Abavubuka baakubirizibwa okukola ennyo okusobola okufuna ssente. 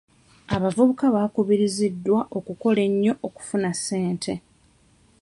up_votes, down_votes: 0, 2